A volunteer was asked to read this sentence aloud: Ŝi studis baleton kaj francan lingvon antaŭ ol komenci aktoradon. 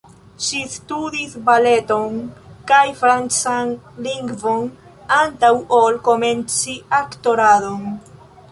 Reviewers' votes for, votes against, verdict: 2, 1, accepted